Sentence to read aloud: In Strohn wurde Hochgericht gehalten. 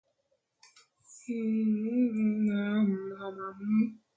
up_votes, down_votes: 0, 2